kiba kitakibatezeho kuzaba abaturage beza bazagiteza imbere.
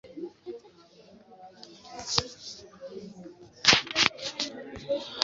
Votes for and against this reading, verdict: 1, 2, rejected